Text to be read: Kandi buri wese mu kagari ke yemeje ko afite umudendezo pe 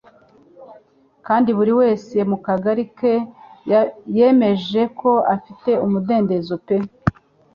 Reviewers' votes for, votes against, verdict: 1, 2, rejected